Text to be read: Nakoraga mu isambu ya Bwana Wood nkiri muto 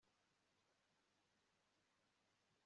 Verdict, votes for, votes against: rejected, 2, 3